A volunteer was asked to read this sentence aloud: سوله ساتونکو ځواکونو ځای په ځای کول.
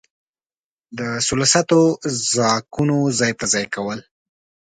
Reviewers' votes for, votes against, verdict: 1, 2, rejected